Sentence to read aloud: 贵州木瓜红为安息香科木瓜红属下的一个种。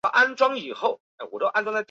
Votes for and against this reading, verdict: 1, 2, rejected